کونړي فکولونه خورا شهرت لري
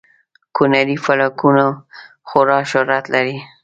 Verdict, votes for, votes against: rejected, 0, 2